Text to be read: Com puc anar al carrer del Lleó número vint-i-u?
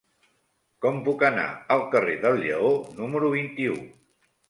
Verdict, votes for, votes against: accepted, 3, 0